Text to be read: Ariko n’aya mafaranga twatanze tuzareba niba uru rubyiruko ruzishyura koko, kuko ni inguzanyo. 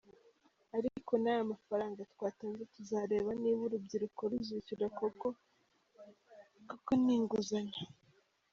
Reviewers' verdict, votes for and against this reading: rejected, 1, 2